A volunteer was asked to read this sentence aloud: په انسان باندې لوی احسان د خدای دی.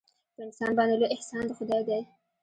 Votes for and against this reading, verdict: 1, 2, rejected